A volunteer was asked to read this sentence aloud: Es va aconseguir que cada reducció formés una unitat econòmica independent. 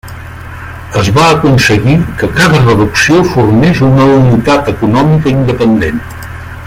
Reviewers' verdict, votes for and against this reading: rejected, 0, 2